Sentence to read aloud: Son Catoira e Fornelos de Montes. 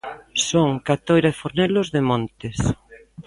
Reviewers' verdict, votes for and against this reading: accepted, 2, 0